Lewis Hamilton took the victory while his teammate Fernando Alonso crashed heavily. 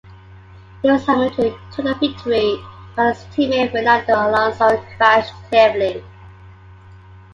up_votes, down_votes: 1, 2